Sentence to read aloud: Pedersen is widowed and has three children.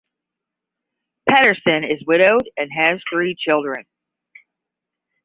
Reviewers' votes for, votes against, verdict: 10, 0, accepted